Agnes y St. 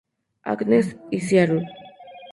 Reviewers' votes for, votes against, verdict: 0, 2, rejected